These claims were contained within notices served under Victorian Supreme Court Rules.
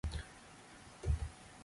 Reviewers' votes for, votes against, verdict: 0, 2, rejected